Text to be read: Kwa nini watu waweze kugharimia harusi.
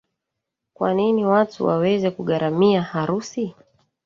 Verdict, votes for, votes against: accepted, 2, 1